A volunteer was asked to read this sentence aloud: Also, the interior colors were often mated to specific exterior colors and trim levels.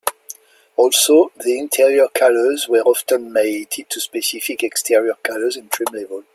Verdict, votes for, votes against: rejected, 0, 2